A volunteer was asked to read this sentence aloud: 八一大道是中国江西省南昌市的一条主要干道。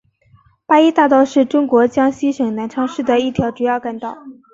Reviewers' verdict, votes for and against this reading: accepted, 3, 1